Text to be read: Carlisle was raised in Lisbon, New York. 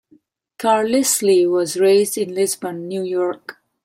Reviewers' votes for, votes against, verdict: 0, 2, rejected